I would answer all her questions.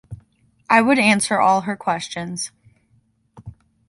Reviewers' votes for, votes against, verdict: 2, 0, accepted